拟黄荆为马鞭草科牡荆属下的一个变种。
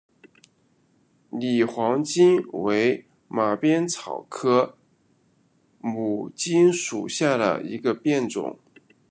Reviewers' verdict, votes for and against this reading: accepted, 2, 1